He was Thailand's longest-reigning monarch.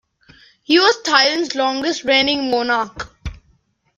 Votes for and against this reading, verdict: 2, 1, accepted